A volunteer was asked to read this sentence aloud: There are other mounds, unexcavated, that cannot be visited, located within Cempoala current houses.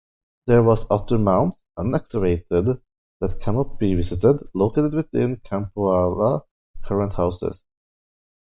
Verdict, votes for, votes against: rejected, 1, 2